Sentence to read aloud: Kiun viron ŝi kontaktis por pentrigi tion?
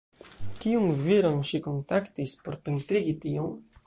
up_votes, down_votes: 1, 2